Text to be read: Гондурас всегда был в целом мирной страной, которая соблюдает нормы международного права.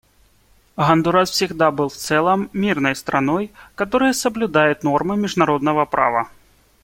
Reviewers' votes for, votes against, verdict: 2, 0, accepted